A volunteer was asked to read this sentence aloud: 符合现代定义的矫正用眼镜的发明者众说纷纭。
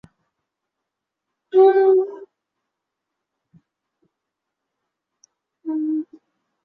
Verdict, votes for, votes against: rejected, 0, 2